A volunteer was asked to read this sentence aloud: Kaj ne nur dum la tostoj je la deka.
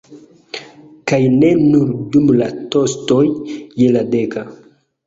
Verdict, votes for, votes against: accepted, 2, 1